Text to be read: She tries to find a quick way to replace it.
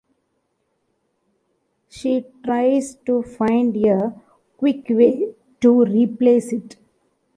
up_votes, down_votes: 1, 2